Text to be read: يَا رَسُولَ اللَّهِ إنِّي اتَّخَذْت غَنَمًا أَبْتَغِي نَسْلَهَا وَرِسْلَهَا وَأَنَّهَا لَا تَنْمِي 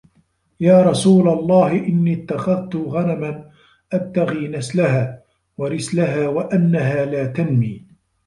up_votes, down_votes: 2, 1